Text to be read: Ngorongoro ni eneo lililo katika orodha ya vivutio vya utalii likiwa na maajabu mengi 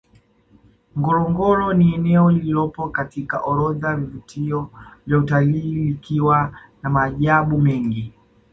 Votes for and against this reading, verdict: 2, 0, accepted